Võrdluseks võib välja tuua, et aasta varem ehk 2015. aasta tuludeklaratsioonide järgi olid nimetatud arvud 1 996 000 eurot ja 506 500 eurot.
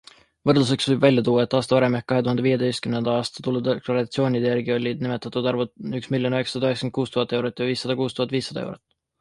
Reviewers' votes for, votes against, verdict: 0, 2, rejected